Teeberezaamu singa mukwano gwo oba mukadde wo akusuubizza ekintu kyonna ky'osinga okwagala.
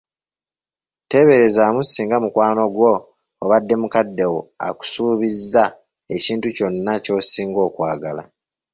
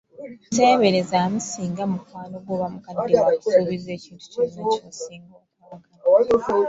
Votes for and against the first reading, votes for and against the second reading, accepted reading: 0, 3, 2, 1, second